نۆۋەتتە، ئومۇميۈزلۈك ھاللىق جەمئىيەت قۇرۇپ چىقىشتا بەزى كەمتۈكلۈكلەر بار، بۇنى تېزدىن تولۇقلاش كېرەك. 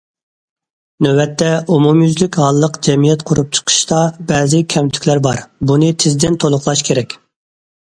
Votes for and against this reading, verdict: 1, 2, rejected